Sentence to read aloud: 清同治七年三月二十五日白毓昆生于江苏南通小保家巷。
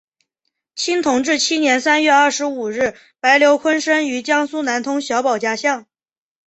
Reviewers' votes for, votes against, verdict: 2, 0, accepted